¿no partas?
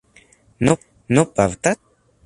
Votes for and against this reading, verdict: 0, 2, rejected